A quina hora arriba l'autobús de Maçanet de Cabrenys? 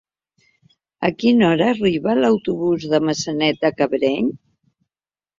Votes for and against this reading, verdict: 3, 1, accepted